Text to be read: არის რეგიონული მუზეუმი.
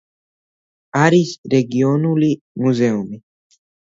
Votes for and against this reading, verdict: 2, 0, accepted